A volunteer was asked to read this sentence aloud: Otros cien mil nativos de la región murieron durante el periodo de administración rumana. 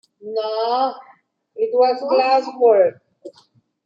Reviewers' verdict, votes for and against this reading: rejected, 0, 2